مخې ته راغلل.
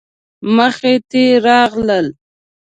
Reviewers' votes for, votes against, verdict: 0, 2, rejected